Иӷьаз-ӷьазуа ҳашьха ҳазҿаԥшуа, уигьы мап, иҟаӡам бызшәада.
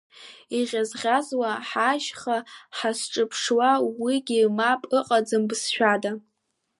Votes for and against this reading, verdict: 1, 2, rejected